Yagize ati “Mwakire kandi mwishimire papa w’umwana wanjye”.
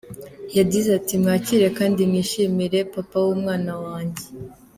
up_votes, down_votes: 2, 0